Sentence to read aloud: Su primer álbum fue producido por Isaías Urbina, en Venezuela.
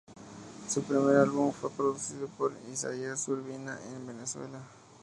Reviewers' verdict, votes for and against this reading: accepted, 2, 0